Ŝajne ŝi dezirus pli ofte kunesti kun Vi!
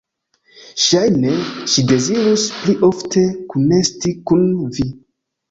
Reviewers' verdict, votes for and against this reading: accepted, 2, 0